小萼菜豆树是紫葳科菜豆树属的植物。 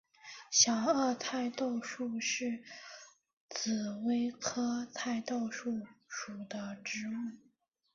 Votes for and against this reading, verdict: 1, 2, rejected